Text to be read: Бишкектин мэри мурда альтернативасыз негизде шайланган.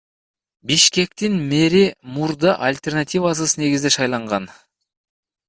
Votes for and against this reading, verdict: 1, 2, rejected